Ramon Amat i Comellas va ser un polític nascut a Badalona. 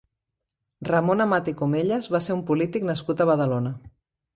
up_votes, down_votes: 2, 0